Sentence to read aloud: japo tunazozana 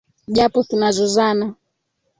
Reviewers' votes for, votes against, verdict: 2, 0, accepted